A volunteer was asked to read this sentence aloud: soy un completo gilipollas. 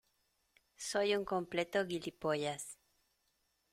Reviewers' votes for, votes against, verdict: 1, 2, rejected